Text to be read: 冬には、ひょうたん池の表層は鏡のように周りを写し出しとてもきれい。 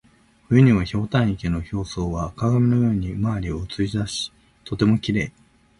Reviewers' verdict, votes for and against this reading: accepted, 2, 0